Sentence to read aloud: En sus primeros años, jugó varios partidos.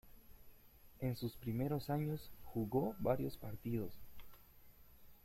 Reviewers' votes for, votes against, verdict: 1, 2, rejected